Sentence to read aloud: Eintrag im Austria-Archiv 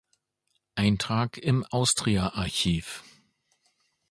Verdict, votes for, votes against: accepted, 2, 0